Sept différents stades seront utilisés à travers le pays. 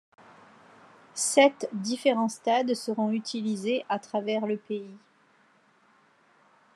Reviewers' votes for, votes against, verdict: 2, 0, accepted